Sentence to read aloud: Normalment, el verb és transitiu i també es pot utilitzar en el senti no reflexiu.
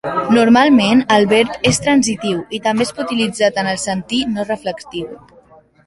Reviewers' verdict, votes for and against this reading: rejected, 1, 2